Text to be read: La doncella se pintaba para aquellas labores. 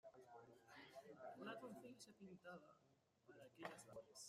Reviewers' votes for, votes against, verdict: 0, 2, rejected